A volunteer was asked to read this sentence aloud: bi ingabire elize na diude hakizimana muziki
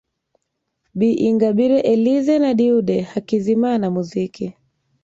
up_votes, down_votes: 1, 2